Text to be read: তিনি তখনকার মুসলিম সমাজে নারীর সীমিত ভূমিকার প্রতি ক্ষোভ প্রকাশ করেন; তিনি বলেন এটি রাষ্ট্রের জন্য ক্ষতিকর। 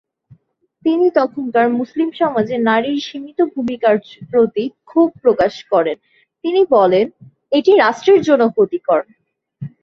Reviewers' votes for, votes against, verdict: 2, 0, accepted